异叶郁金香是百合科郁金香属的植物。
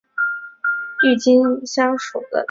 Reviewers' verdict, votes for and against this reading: rejected, 0, 2